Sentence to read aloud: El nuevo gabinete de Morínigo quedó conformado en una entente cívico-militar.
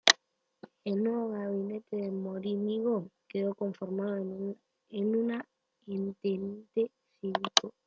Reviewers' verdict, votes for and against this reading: rejected, 0, 2